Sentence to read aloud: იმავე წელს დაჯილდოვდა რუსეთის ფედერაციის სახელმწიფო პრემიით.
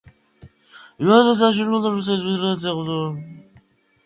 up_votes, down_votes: 0, 2